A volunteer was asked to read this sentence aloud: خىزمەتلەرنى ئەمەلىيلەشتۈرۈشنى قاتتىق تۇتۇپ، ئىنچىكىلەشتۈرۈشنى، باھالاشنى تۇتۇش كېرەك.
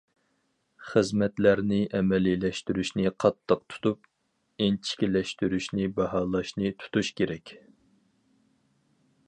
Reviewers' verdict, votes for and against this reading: accepted, 4, 0